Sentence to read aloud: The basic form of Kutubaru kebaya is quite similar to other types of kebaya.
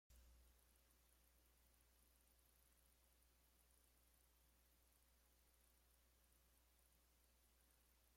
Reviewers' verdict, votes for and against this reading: rejected, 0, 2